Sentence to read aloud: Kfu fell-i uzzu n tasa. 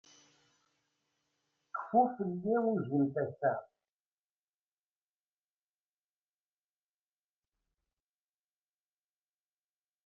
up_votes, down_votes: 1, 2